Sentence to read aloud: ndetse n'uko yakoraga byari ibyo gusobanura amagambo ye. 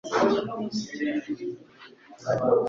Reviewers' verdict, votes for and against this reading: rejected, 1, 2